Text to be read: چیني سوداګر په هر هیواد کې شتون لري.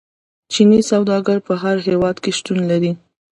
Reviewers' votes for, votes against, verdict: 2, 0, accepted